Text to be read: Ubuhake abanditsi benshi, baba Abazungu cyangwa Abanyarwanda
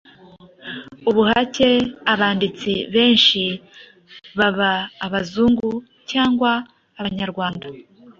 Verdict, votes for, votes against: accepted, 3, 0